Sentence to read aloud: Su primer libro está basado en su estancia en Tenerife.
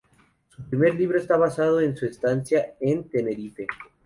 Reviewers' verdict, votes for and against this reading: accepted, 4, 0